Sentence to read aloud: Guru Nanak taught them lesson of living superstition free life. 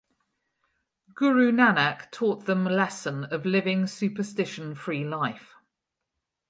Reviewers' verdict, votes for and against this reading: accepted, 4, 0